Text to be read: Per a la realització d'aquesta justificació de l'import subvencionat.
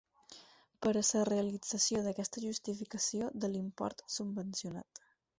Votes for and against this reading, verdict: 2, 4, rejected